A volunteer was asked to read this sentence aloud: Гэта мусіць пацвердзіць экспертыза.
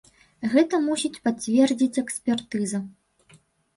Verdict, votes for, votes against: accepted, 2, 0